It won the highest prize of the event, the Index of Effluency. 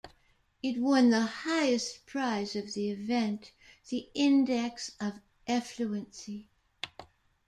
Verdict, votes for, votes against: rejected, 1, 2